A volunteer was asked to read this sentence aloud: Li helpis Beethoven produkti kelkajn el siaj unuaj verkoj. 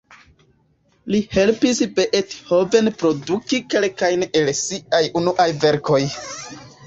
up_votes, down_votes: 0, 2